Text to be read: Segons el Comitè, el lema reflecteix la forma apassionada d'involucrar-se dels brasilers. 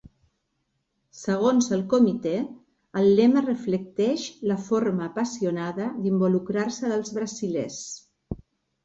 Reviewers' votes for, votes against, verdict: 3, 0, accepted